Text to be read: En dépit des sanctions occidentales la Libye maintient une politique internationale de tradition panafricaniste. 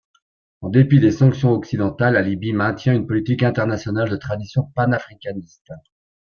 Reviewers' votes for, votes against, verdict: 1, 2, rejected